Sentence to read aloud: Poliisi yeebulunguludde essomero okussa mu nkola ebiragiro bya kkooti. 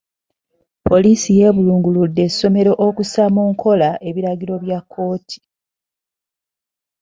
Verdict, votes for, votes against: accepted, 2, 0